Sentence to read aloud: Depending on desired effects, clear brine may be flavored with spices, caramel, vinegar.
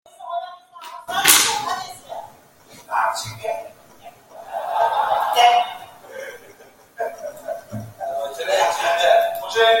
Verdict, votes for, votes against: rejected, 0, 2